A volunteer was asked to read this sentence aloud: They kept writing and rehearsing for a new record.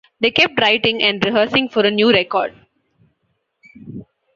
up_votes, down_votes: 2, 0